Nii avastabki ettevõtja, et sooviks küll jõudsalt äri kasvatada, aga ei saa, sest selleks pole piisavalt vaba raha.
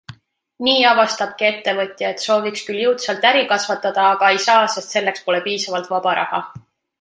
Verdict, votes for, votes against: accepted, 2, 0